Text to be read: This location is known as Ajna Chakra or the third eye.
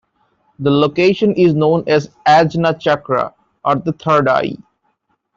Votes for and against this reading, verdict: 0, 2, rejected